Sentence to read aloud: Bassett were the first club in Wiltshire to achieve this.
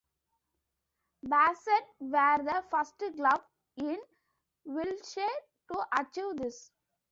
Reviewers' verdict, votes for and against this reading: rejected, 0, 2